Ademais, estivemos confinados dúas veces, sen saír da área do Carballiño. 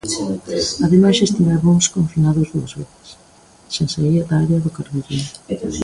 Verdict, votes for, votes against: rejected, 1, 2